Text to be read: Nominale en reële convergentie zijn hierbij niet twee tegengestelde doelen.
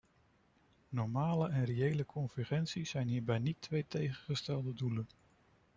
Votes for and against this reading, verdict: 1, 2, rejected